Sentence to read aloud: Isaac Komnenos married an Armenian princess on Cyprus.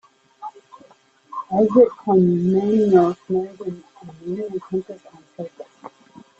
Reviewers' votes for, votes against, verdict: 0, 2, rejected